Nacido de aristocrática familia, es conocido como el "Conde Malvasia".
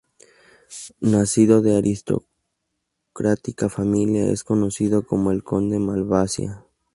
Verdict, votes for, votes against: accepted, 2, 0